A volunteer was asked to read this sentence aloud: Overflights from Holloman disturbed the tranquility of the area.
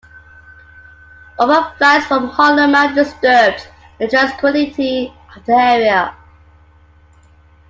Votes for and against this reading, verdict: 2, 0, accepted